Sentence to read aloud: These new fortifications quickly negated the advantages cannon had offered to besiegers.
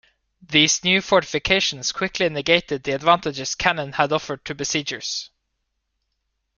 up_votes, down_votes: 1, 2